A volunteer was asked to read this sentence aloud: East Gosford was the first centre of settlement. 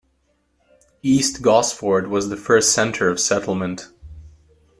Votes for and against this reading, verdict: 2, 0, accepted